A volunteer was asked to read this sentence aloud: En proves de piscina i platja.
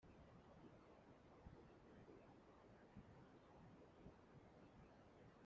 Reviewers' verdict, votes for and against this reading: rejected, 0, 2